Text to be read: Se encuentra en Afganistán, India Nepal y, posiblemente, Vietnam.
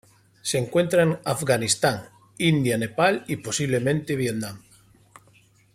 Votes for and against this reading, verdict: 1, 2, rejected